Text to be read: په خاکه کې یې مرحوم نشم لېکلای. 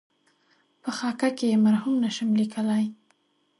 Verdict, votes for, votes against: accepted, 2, 0